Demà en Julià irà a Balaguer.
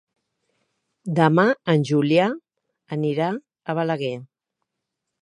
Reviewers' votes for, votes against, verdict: 0, 3, rejected